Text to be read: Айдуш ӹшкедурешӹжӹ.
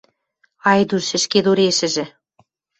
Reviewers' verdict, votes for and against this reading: accepted, 2, 0